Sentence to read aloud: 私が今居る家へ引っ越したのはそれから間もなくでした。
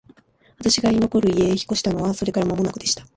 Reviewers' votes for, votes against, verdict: 2, 3, rejected